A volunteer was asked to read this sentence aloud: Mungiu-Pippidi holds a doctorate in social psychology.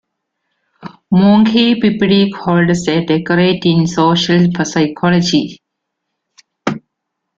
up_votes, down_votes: 0, 2